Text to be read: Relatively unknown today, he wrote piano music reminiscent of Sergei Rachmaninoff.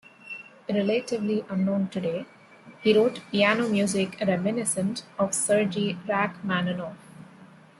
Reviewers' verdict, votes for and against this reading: accepted, 2, 0